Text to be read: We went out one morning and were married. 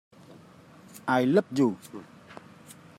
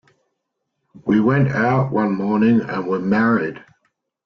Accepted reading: second